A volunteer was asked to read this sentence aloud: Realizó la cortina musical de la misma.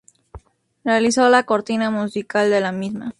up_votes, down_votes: 0, 2